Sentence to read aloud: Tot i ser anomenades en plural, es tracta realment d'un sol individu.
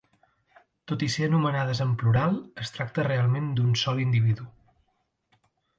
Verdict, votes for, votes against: accepted, 2, 0